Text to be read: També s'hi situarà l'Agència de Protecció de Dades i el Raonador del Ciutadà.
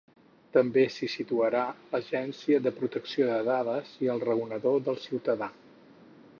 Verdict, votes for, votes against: accepted, 4, 2